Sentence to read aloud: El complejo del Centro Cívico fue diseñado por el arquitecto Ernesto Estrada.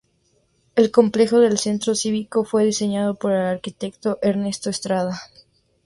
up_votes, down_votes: 2, 0